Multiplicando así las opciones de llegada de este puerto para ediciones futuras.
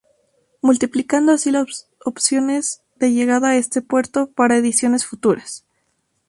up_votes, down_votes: 2, 2